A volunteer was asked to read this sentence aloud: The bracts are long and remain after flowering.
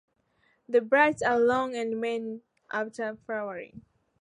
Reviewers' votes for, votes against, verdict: 2, 0, accepted